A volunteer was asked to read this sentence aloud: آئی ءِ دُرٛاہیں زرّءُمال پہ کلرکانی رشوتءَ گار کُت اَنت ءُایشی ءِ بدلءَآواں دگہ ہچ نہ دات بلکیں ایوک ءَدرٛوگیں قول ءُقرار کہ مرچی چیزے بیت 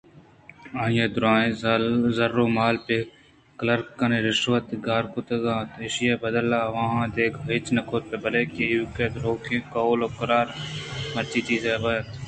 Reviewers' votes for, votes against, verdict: 2, 0, accepted